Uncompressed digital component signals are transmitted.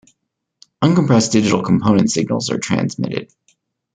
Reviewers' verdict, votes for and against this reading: accepted, 2, 0